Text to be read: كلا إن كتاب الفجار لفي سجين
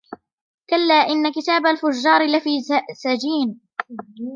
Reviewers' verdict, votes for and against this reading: rejected, 0, 2